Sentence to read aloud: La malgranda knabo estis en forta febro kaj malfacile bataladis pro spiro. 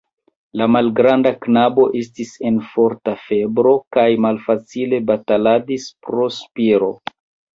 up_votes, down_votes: 0, 2